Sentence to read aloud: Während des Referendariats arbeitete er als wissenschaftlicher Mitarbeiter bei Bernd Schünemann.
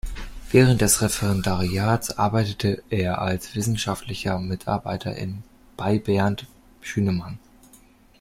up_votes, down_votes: 0, 2